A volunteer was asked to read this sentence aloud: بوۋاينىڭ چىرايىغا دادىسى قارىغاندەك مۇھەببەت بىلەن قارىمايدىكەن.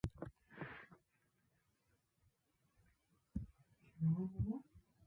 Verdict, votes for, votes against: rejected, 0, 2